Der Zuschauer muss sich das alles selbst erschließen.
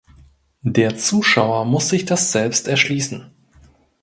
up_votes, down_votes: 0, 2